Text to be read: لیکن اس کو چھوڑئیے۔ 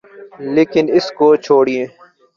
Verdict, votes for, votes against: accepted, 2, 0